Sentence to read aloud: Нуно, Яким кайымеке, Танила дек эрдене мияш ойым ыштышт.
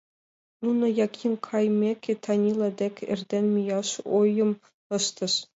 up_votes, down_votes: 2, 0